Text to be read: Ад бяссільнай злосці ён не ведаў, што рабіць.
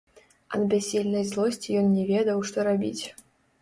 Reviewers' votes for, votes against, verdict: 1, 2, rejected